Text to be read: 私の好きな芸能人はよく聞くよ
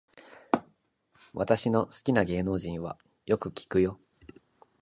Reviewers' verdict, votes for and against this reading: accepted, 2, 0